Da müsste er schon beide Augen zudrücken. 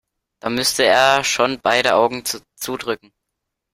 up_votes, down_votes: 1, 3